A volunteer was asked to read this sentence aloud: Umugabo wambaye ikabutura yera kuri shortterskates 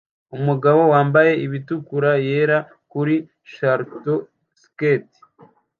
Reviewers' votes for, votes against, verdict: 0, 2, rejected